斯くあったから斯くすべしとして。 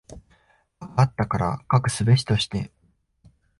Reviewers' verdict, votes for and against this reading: rejected, 1, 3